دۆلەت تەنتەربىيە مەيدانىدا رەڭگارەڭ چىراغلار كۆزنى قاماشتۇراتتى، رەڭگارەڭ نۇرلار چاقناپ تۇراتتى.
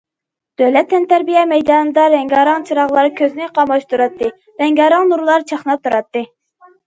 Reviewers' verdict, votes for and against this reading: accepted, 2, 0